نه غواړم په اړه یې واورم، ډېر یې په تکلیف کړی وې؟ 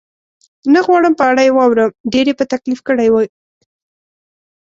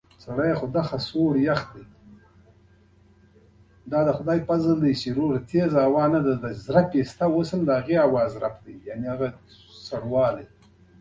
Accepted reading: first